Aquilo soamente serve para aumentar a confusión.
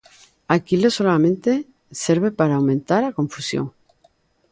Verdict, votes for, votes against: rejected, 1, 2